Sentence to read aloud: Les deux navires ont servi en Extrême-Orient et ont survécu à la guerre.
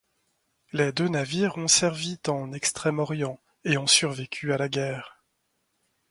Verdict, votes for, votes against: rejected, 1, 2